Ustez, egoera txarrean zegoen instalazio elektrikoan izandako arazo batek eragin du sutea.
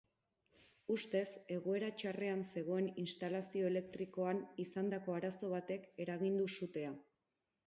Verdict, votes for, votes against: accepted, 6, 0